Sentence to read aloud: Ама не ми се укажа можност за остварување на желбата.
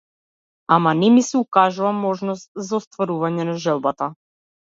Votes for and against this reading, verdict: 1, 2, rejected